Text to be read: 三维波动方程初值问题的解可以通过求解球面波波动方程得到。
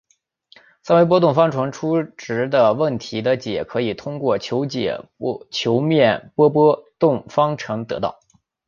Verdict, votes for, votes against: rejected, 0, 2